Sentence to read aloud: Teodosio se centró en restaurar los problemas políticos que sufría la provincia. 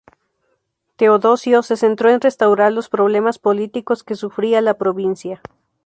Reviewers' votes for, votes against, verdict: 2, 0, accepted